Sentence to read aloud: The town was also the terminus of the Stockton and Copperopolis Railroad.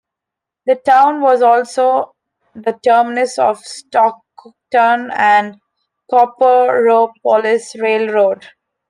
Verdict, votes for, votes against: accepted, 2, 0